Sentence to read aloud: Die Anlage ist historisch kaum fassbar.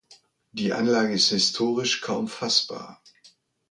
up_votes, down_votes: 2, 0